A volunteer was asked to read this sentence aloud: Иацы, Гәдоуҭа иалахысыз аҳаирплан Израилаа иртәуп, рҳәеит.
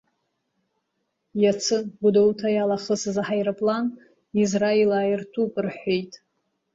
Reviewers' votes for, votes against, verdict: 0, 2, rejected